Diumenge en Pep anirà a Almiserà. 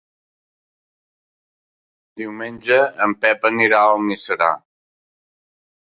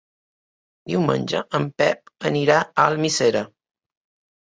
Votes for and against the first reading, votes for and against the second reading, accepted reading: 2, 0, 0, 2, first